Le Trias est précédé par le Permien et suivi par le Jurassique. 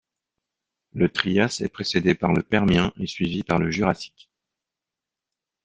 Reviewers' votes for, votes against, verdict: 2, 0, accepted